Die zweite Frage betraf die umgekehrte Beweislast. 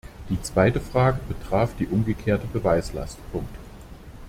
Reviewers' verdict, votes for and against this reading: rejected, 0, 2